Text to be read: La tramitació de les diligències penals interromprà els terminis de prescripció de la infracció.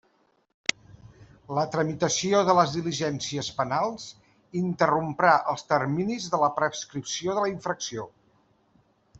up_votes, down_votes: 0, 2